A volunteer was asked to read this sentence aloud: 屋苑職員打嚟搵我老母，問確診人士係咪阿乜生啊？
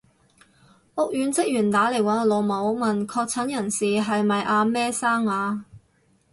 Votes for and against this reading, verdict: 0, 4, rejected